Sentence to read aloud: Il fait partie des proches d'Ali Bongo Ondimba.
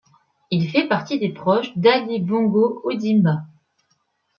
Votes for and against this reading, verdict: 1, 2, rejected